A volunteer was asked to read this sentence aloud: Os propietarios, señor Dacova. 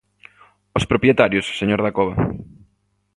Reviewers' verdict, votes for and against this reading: accepted, 2, 0